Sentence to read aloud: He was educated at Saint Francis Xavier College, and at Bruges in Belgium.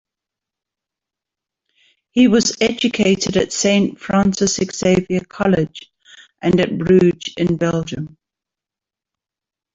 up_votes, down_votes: 1, 2